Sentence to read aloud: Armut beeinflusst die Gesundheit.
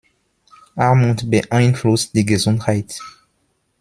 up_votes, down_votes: 2, 0